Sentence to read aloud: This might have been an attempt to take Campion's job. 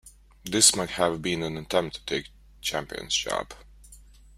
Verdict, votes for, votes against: rejected, 0, 2